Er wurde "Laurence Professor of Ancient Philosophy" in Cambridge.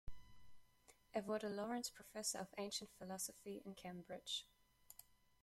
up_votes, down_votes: 2, 0